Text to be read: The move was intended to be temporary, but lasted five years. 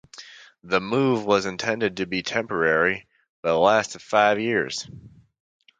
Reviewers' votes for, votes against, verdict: 2, 0, accepted